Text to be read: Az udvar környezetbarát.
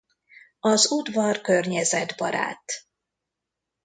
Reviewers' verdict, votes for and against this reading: accepted, 2, 0